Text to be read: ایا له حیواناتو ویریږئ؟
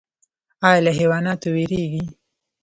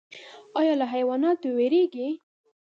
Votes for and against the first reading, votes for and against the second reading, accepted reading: 0, 2, 2, 0, second